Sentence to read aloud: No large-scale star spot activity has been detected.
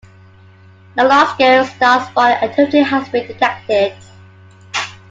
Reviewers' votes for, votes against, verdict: 0, 2, rejected